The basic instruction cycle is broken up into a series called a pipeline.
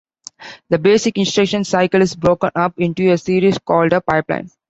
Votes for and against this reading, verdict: 2, 0, accepted